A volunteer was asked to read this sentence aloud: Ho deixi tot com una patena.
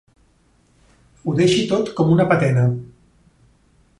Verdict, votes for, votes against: accepted, 3, 0